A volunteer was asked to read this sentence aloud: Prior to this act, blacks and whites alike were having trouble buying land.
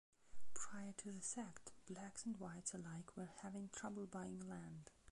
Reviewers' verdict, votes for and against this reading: rejected, 0, 2